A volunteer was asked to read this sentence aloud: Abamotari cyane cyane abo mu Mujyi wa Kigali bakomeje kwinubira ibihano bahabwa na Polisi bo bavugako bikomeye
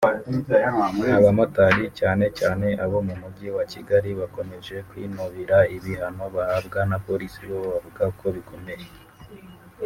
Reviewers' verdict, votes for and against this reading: rejected, 1, 2